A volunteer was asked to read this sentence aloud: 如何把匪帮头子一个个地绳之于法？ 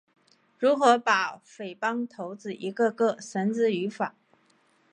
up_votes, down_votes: 2, 0